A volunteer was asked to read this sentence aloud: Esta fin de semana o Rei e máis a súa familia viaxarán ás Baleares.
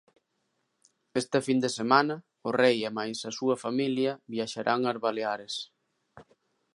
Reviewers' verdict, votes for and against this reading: accepted, 2, 0